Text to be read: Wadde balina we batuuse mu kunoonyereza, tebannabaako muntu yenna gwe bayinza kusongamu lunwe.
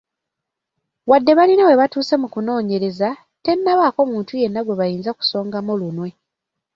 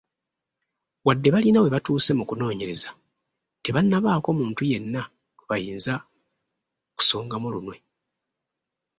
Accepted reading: second